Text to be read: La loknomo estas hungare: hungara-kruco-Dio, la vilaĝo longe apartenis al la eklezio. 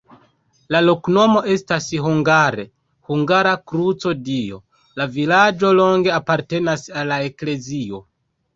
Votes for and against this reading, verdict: 0, 2, rejected